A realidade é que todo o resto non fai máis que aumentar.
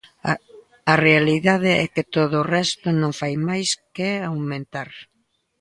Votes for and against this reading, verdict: 0, 2, rejected